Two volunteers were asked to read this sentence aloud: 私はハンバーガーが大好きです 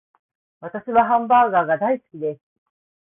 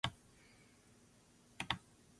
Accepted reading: first